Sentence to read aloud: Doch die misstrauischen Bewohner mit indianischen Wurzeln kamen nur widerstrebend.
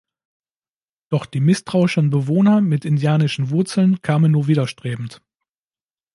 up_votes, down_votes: 2, 0